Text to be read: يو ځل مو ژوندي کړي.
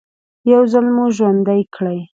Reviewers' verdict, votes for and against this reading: accepted, 2, 1